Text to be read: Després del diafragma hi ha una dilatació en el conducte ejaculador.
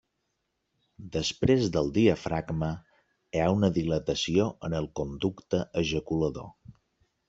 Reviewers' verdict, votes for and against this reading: accepted, 3, 0